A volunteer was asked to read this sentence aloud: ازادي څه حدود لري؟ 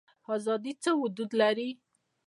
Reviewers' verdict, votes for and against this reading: accepted, 2, 0